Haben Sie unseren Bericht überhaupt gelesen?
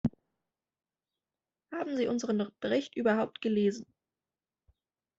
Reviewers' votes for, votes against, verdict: 1, 2, rejected